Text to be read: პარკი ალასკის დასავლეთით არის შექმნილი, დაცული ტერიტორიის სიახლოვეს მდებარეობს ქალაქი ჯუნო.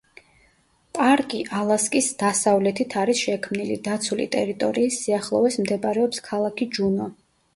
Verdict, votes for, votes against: accepted, 2, 1